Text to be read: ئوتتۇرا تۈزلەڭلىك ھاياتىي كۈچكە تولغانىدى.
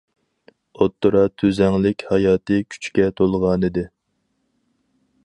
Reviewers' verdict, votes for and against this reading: rejected, 2, 2